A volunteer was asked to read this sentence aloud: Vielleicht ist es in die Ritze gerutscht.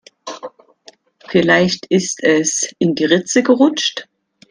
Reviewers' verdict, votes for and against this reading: accepted, 2, 1